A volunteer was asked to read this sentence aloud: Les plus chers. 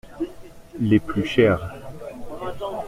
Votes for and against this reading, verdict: 2, 0, accepted